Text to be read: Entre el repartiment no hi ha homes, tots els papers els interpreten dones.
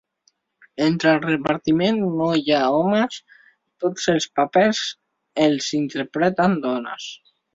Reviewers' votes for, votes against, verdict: 2, 0, accepted